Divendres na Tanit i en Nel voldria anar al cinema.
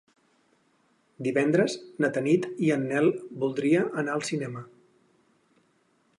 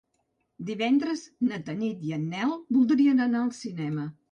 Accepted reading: first